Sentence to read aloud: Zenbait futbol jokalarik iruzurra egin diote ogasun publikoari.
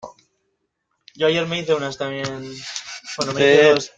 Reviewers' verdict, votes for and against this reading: rejected, 0, 2